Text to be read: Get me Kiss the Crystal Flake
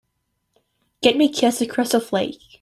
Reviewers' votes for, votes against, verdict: 2, 1, accepted